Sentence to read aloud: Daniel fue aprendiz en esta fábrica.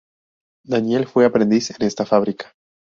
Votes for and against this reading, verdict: 2, 0, accepted